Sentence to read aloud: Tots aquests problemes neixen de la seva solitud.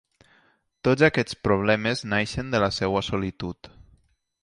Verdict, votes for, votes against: rejected, 1, 2